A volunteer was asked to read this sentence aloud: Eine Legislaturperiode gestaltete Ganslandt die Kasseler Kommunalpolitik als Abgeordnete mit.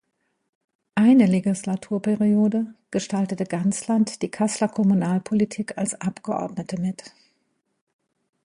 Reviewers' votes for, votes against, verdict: 2, 0, accepted